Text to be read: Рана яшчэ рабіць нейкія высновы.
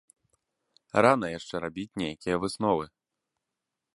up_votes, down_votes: 2, 0